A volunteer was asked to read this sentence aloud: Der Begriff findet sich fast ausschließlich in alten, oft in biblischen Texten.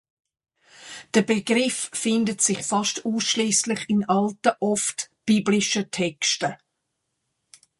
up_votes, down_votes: 0, 2